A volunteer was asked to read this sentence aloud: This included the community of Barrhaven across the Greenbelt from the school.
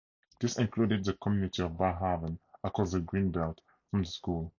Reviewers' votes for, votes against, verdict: 0, 2, rejected